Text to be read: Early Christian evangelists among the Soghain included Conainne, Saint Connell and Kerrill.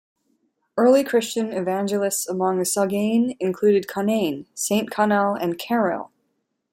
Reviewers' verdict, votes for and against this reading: accepted, 2, 0